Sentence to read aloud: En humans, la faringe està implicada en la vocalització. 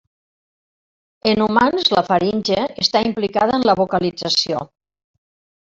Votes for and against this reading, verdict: 3, 0, accepted